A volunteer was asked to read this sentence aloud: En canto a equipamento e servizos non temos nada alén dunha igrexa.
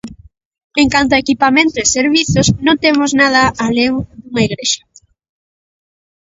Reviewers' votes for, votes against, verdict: 1, 2, rejected